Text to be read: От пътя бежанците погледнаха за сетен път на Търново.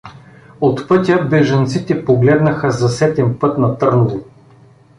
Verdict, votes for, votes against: accepted, 2, 0